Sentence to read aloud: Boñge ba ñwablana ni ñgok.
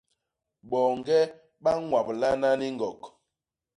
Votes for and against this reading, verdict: 2, 0, accepted